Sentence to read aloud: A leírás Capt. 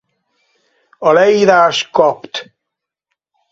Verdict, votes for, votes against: rejected, 2, 4